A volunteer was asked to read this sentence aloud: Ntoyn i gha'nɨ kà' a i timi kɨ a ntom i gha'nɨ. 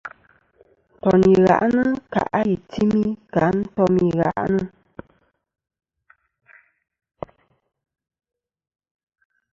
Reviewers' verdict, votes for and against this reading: accepted, 2, 1